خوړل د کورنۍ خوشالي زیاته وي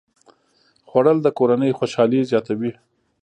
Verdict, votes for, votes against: accepted, 2, 1